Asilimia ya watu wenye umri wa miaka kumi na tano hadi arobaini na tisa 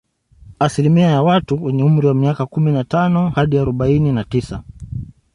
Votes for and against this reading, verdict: 1, 2, rejected